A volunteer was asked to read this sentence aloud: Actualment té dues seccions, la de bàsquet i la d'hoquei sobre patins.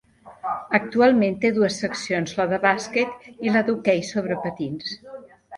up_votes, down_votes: 3, 0